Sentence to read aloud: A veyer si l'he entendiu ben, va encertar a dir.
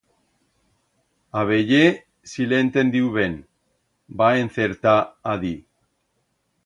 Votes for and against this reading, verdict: 2, 0, accepted